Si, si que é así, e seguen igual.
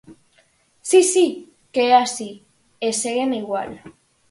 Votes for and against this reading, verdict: 4, 0, accepted